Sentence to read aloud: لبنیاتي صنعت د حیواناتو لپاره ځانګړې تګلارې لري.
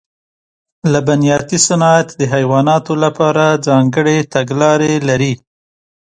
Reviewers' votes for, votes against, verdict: 2, 0, accepted